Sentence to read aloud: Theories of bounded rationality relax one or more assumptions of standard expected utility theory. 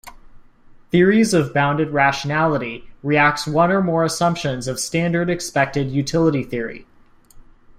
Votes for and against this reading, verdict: 1, 2, rejected